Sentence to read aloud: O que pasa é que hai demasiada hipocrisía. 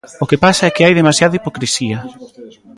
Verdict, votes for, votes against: accepted, 2, 0